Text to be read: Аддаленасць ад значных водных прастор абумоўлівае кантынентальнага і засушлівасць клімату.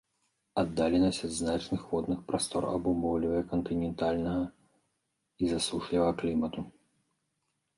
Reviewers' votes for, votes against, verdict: 0, 2, rejected